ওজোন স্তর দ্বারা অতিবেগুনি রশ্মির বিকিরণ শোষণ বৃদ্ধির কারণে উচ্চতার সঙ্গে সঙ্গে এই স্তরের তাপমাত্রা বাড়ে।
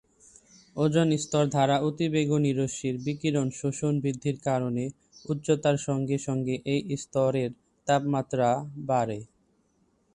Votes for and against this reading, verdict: 2, 1, accepted